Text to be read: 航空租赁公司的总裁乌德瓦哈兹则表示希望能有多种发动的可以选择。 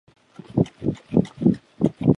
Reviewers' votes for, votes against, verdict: 1, 2, rejected